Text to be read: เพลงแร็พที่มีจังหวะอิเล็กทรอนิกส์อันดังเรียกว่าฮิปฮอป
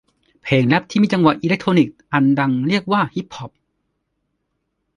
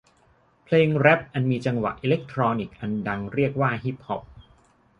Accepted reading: first